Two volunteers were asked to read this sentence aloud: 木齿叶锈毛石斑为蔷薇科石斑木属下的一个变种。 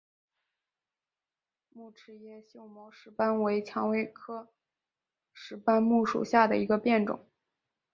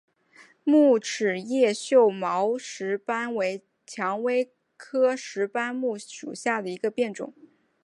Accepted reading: second